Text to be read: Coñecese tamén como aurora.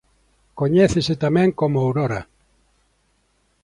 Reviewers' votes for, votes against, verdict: 2, 0, accepted